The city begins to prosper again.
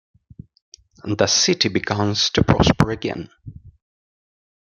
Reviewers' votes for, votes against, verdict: 1, 2, rejected